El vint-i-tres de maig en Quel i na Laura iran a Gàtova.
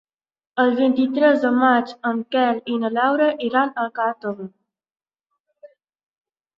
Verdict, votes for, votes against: rejected, 1, 2